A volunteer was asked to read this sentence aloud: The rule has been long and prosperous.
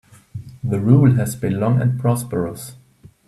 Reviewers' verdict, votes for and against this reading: accepted, 2, 0